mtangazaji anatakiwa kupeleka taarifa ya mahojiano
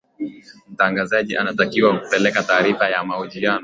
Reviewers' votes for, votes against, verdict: 2, 0, accepted